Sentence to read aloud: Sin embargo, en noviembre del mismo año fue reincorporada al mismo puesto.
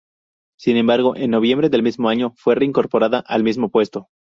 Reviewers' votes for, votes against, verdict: 2, 0, accepted